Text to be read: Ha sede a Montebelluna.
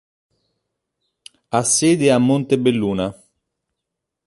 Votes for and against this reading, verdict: 2, 0, accepted